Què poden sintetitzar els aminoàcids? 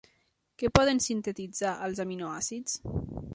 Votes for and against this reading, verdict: 3, 0, accepted